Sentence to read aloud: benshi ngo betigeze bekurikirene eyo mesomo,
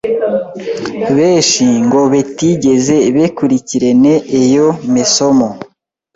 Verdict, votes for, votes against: rejected, 0, 2